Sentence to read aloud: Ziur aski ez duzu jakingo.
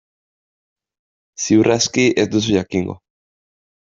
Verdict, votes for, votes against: accepted, 2, 0